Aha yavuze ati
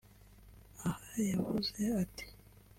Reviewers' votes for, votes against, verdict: 2, 0, accepted